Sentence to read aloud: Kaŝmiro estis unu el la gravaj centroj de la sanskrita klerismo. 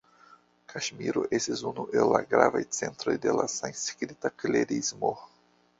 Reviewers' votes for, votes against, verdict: 1, 2, rejected